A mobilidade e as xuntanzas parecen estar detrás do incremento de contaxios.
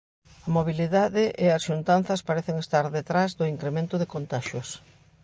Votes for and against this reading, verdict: 1, 2, rejected